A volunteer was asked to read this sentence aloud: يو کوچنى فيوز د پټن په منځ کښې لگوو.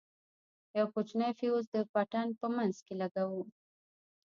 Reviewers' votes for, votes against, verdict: 1, 2, rejected